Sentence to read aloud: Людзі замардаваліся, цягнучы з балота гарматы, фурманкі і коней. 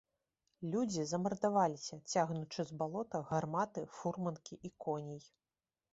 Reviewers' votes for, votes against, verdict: 3, 0, accepted